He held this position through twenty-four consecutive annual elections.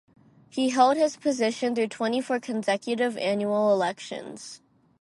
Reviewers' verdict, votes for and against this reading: rejected, 0, 4